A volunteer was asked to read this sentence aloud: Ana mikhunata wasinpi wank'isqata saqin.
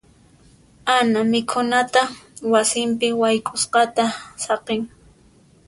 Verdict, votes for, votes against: rejected, 1, 2